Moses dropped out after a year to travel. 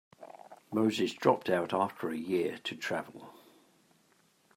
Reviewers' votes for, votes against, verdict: 2, 0, accepted